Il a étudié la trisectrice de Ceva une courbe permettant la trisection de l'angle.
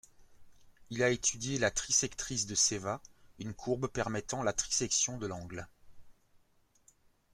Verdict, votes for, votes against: accepted, 2, 0